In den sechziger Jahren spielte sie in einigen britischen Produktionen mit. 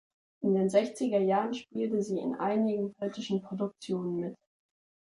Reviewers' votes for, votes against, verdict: 2, 0, accepted